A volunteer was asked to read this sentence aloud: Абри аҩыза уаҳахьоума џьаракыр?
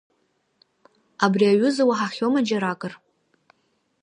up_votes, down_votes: 3, 0